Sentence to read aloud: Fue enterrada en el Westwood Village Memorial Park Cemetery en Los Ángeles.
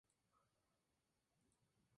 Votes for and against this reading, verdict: 2, 0, accepted